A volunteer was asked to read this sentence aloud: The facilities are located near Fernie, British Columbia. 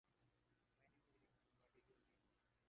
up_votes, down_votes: 0, 2